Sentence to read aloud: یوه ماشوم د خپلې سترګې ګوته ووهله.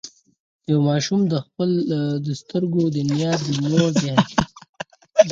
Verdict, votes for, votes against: rejected, 2, 4